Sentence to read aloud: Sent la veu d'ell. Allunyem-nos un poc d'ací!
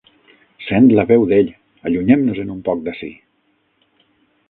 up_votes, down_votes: 3, 6